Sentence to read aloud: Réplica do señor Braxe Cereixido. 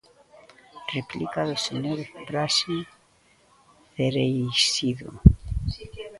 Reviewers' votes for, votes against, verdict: 1, 2, rejected